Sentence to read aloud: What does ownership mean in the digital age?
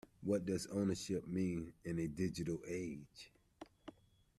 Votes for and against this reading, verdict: 1, 2, rejected